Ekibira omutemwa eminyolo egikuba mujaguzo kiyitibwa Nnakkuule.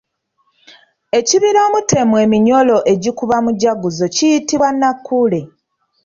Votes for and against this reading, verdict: 2, 0, accepted